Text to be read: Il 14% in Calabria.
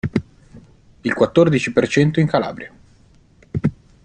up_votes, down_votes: 0, 2